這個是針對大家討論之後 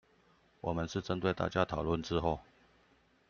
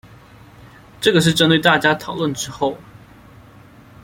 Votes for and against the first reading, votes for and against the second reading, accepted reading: 0, 2, 2, 0, second